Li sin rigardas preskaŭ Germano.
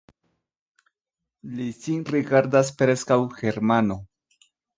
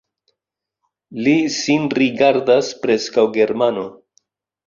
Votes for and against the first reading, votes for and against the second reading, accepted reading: 2, 1, 1, 2, first